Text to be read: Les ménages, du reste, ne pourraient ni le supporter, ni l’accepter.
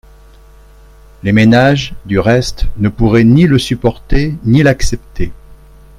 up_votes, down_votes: 3, 0